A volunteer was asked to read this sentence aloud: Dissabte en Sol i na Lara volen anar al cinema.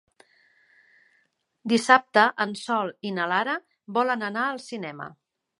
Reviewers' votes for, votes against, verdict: 3, 0, accepted